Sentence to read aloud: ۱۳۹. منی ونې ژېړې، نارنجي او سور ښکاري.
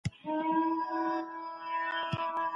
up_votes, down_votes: 0, 2